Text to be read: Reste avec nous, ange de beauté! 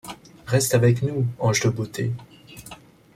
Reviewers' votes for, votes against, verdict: 2, 0, accepted